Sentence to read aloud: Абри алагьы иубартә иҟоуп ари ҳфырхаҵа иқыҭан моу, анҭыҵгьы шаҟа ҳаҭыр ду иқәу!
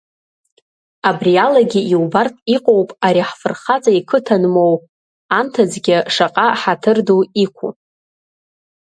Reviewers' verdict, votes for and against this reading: accepted, 2, 1